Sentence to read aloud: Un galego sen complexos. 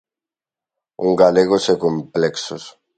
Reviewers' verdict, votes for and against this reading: rejected, 1, 2